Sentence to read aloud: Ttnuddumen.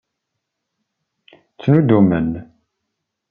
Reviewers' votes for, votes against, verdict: 2, 0, accepted